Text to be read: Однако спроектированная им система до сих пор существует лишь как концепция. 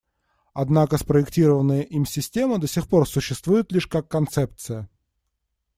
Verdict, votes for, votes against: accepted, 2, 0